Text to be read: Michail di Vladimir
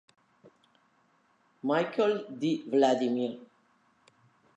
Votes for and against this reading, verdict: 1, 2, rejected